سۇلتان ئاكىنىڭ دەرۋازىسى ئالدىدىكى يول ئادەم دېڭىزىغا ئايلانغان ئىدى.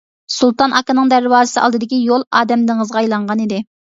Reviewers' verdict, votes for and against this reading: accepted, 2, 0